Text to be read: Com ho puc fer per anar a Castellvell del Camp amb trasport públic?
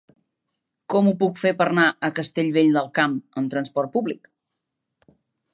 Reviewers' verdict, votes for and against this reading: rejected, 0, 2